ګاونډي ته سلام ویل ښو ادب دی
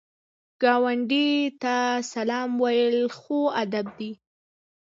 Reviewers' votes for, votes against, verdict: 1, 2, rejected